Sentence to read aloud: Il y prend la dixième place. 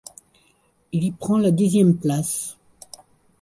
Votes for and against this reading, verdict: 1, 2, rejected